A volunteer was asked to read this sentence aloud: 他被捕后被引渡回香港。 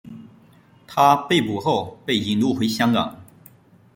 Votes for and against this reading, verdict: 1, 2, rejected